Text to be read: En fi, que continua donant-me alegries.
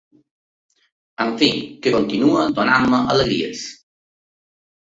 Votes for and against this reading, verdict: 3, 0, accepted